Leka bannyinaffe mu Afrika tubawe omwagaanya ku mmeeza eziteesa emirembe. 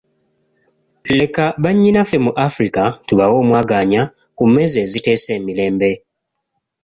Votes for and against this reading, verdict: 2, 1, accepted